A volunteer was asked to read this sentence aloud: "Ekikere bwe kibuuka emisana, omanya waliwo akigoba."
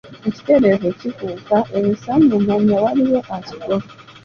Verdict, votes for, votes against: rejected, 0, 2